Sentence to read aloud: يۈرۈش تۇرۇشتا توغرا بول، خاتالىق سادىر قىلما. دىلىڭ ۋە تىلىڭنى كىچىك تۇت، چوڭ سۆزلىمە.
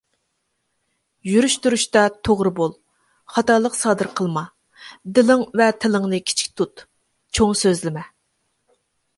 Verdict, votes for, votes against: accepted, 2, 0